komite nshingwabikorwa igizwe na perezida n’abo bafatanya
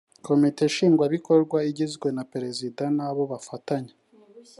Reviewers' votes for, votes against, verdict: 2, 0, accepted